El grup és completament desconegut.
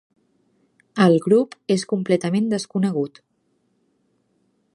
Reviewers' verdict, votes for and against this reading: accepted, 3, 0